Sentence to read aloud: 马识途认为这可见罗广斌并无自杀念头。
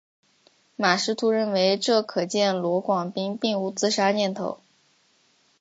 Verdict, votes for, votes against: accepted, 5, 0